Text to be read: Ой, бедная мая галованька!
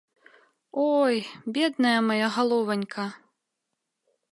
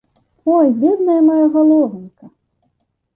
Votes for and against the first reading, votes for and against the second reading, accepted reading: 3, 0, 0, 2, first